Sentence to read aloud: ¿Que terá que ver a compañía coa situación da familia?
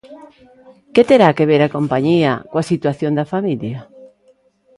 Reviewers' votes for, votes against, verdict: 0, 2, rejected